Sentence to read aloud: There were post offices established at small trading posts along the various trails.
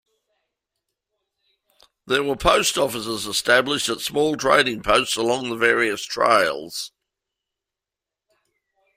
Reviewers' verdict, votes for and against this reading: accepted, 2, 0